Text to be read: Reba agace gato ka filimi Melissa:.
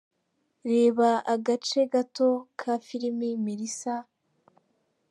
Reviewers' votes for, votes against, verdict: 2, 0, accepted